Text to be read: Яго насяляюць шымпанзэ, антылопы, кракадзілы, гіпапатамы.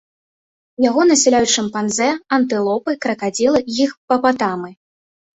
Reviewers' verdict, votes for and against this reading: rejected, 1, 2